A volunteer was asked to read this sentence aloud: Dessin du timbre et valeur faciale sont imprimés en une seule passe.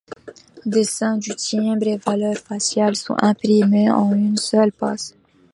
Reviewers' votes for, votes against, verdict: 1, 2, rejected